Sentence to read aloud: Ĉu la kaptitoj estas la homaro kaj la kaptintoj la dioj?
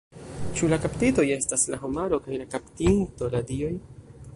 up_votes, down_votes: 0, 2